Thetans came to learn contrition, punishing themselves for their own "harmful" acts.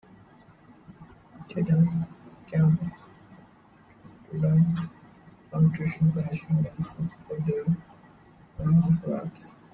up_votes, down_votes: 1, 2